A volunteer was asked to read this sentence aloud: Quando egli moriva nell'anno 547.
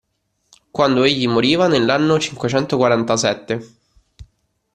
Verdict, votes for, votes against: rejected, 0, 2